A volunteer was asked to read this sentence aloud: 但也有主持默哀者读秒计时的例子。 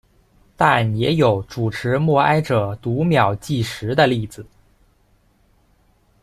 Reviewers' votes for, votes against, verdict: 2, 0, accepted